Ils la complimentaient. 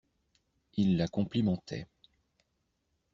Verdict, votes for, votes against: accepted, 2, 0